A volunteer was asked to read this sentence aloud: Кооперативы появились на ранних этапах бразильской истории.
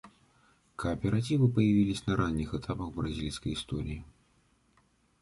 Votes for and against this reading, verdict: 2, 0, accepted